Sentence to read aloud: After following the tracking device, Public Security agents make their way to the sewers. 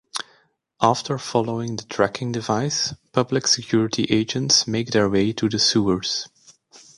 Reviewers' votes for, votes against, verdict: 2, 0, accepted